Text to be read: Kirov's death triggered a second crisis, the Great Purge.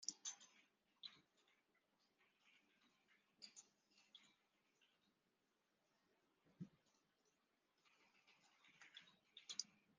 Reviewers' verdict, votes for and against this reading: rejected, 0, 2